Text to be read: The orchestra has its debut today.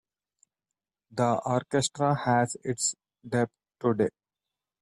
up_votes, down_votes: 0, 2